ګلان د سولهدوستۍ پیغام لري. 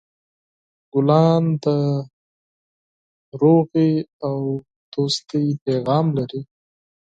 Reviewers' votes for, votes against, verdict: 2, 4, rejected